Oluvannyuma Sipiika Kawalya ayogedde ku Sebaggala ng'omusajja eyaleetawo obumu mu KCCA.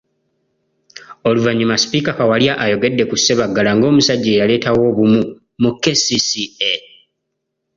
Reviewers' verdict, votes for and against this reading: accepted, 2, 0